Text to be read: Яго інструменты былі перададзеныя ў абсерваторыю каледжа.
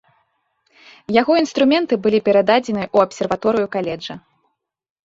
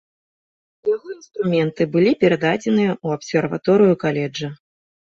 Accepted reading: first